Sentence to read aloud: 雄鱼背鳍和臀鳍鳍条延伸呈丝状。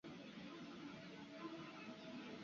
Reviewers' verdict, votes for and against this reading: rejected, 0, 3